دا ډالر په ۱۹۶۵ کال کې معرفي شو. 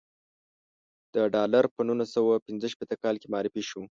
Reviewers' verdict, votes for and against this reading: rejected, 0, 2